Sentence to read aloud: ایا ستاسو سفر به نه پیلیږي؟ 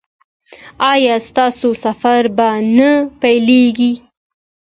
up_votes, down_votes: 2, 0